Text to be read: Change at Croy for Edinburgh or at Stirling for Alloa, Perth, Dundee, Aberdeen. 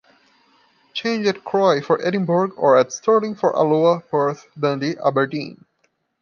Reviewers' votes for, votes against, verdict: 2, 0, accepted